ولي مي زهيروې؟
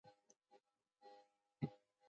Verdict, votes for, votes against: rejected, 0, 2